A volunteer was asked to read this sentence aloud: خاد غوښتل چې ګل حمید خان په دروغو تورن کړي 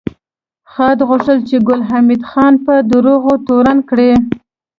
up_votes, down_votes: 2, 1